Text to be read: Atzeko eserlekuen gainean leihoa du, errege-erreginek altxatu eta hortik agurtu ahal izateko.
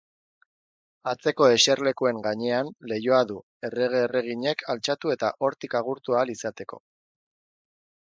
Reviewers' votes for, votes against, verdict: 4, 0, accepted